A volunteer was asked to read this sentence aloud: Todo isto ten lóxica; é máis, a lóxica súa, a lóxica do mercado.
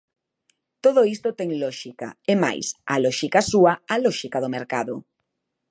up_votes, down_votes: 2, 0